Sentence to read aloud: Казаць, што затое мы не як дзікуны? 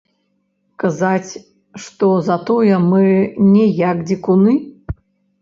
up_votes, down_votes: 1, 3